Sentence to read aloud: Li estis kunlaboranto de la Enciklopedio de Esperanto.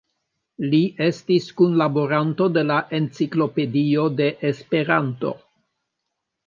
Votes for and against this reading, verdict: 2, 0, accepted